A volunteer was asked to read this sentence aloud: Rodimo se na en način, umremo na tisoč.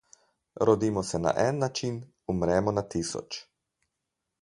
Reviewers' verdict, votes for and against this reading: accepted, 4, 0